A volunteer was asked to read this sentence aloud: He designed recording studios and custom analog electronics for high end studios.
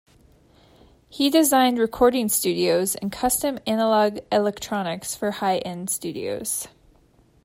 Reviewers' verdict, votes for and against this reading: accepted, 2, 0